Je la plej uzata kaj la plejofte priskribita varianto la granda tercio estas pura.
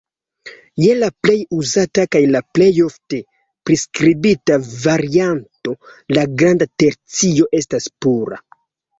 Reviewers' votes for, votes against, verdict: 2, 0, accepted